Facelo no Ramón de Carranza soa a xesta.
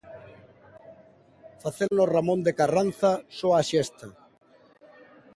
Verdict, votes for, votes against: accepted, 2, 1